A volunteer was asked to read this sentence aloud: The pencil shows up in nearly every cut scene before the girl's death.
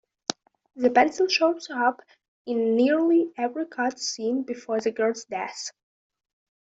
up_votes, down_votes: 0, 2